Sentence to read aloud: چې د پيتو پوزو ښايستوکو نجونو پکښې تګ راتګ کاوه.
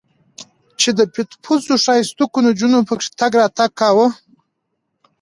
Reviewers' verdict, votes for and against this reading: accepted, 2, 0